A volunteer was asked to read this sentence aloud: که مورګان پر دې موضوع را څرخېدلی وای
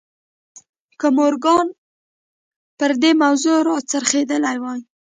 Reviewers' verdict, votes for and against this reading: rejected, 1, 2